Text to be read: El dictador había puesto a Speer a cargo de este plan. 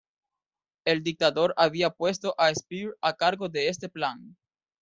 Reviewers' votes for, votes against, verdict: 2, 0, accepted